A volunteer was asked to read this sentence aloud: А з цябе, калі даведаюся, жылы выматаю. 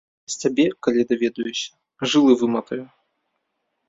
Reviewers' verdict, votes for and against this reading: rejected, 0, 2